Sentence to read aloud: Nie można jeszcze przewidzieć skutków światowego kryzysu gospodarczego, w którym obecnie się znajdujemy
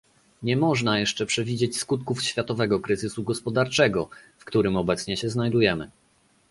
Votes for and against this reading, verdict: 2, 0, accepted